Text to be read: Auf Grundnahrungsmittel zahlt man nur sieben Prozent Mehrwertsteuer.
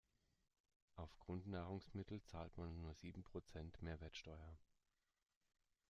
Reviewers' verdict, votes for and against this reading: accepted, 2, 1